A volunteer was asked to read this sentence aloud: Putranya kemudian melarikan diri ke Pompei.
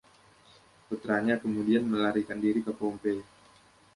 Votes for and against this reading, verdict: 2, 0, accepted